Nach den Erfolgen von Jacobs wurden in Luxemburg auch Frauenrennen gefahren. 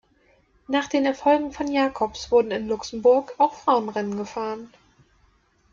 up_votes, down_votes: 2, 0